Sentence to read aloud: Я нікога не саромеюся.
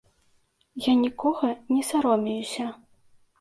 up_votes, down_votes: 2, 0